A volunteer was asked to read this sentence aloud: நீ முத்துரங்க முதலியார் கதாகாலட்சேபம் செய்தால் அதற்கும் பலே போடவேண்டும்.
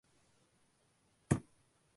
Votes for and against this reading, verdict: 0, 2, rejected